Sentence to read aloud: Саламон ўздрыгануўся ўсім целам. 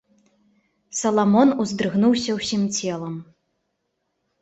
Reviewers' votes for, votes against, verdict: 0, 2, rejected